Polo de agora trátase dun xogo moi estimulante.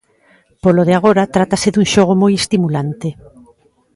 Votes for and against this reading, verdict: 1, 2, rejected